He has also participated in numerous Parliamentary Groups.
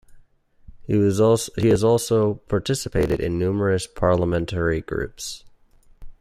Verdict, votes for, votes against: accepted, 2, 1